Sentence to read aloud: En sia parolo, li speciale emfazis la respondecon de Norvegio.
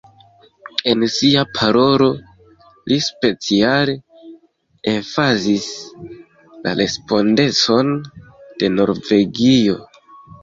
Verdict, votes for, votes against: rejected, 0, 2